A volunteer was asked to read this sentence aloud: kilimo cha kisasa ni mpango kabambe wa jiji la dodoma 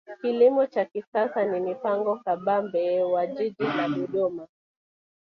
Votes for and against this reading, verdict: 0, 2, rejected